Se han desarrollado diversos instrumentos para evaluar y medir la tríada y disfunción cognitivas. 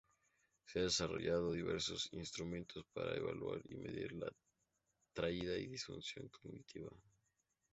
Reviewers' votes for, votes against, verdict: 0, 4, rejected